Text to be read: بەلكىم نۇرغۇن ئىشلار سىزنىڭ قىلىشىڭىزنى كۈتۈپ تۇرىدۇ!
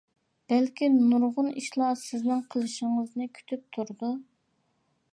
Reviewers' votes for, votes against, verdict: 2, 0, accepted